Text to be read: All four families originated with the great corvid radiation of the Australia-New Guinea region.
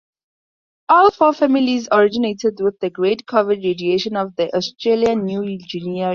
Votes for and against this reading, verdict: 0, 2, rejected